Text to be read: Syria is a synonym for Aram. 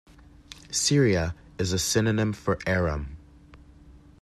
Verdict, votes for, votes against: accepted, 2, 0